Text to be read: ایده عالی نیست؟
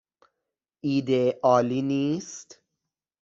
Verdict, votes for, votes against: accepted, 2, 0